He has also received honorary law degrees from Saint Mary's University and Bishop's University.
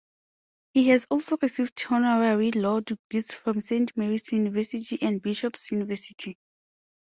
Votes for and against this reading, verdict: 1, 2, rejected